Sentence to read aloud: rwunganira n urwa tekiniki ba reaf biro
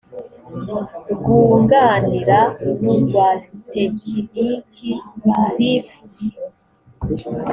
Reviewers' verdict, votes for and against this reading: accepted, 2, 0